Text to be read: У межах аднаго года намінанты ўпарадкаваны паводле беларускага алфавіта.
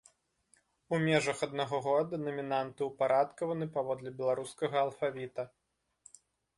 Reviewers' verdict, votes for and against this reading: rejected, 1, 2